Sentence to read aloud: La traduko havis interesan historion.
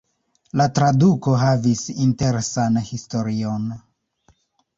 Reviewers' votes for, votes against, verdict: 0, 2, rejected